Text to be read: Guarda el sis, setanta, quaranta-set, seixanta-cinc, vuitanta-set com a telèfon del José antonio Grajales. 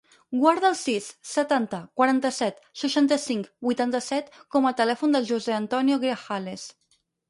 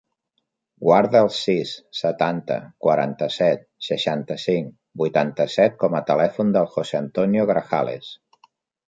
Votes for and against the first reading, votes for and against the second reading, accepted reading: 2, 4, 3, 0, second